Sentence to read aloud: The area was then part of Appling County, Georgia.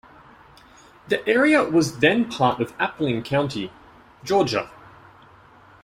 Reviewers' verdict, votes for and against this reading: accepted, 2, 0